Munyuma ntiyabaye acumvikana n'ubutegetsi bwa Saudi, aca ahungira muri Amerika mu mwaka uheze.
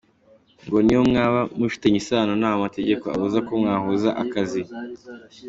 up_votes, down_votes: 1, 2